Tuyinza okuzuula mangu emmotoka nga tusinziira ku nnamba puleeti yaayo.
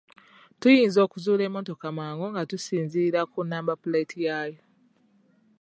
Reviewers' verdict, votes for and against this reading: rejected, 0, 2